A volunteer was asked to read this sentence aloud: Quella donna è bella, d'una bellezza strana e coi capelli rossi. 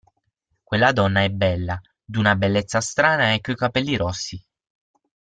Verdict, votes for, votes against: accepted, 6, 0